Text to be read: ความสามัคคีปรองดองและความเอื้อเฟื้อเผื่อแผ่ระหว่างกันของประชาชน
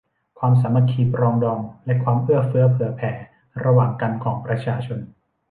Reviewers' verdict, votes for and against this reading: rejected, 0, 2